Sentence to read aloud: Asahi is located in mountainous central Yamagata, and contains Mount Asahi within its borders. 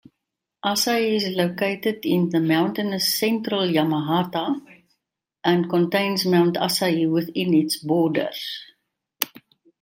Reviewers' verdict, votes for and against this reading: accepted, 2, 0